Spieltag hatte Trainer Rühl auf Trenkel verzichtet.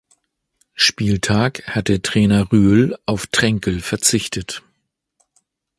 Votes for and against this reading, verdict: 2, 0, accepted